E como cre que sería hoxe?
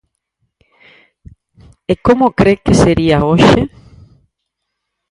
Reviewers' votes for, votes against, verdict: 4, 0, accepted